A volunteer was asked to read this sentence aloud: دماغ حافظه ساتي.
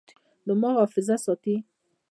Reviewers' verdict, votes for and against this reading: rejected, 1, 2